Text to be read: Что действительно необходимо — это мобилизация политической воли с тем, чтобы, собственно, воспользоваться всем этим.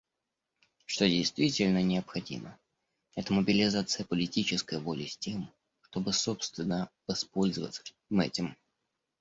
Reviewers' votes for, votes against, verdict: 0, 2, rejected